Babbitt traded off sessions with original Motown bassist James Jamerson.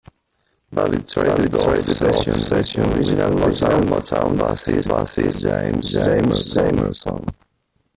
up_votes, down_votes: 0, 2